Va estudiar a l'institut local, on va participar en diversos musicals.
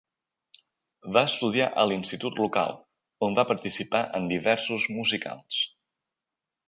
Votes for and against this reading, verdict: 3, 0, accepted